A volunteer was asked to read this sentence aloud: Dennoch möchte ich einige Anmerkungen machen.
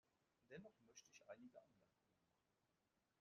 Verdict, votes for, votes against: rejected, 0, 2